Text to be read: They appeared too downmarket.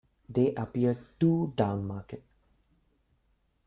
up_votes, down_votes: 0, 2